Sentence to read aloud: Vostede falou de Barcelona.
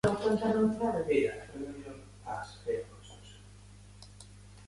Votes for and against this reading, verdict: 0, 2, rejected